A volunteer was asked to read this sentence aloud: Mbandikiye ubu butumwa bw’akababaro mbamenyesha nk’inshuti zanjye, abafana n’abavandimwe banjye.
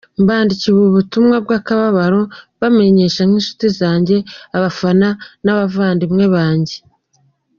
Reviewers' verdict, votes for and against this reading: accepted, 2, 0